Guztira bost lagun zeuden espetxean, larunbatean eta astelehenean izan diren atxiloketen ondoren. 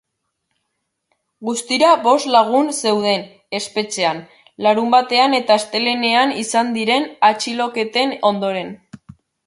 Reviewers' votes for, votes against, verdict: 2, 0, accepted